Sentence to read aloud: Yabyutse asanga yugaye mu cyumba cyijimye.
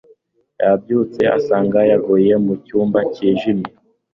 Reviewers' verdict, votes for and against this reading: accepted, 3, 0